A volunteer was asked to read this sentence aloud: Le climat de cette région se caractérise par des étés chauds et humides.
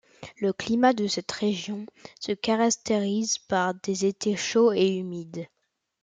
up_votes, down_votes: 1, 2